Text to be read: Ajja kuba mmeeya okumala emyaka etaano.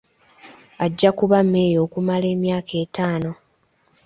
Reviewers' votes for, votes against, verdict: 2, 0, accepted